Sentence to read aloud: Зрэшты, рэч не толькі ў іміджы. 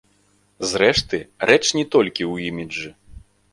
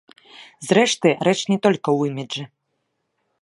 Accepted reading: first